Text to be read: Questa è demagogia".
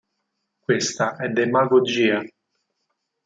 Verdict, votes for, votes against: accepted, 4, 0